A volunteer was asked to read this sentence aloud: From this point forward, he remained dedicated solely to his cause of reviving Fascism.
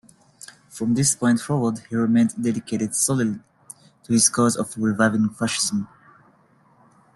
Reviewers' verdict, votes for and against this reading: rejected, 0, 2